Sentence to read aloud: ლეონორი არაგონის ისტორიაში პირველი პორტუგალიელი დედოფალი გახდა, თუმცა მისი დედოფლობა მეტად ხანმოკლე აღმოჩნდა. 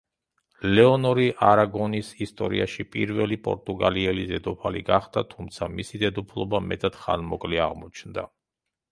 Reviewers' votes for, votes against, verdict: 3, 0, accepted